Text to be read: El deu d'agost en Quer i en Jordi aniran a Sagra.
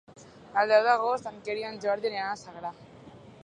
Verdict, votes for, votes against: rejected, 1, 2